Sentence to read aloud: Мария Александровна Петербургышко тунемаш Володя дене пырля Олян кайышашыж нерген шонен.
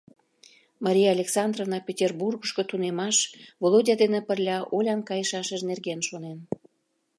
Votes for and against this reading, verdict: 2, 0, accepted